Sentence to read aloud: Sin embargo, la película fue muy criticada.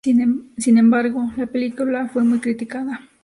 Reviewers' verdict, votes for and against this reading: accepted, 2, 0